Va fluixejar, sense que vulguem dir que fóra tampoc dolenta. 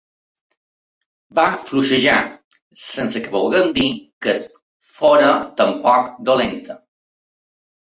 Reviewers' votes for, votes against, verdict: 2, 0, accepted